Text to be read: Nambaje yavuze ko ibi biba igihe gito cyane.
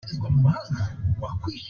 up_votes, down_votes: 0, 2